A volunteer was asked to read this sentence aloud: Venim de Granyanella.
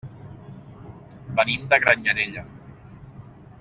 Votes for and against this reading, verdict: 3, 1, accepted